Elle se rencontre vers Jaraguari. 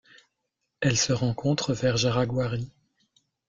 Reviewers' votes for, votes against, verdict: 1, 2, rejected